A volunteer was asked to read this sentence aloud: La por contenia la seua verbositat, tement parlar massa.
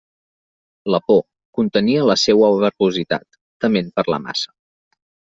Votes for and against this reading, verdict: 0, 2, rejected